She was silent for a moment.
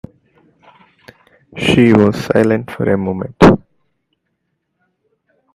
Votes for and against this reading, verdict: 0, 2, rejected